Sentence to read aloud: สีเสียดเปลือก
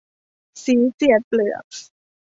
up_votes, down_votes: 1, 2